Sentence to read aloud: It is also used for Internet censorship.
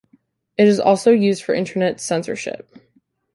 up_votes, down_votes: 3, 0